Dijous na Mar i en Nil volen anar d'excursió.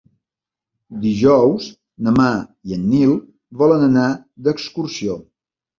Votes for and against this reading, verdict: 2, 0, accepted